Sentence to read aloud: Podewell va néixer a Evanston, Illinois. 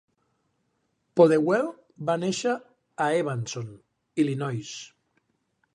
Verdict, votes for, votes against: rejected, 0, 2